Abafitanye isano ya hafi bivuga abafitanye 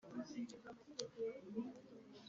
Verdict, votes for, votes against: rejected, 1, 2